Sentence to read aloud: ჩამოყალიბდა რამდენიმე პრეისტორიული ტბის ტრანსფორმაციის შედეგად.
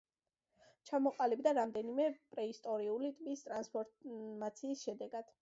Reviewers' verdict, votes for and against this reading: accepted, 2, 0